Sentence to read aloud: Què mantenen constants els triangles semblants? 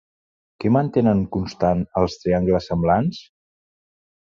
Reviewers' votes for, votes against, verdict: 3, 0, accepted